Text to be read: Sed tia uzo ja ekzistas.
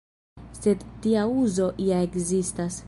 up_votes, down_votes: 1, 2